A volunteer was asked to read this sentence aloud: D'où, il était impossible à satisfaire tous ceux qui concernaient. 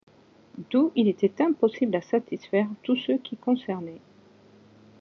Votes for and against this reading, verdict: 2, 0, accepted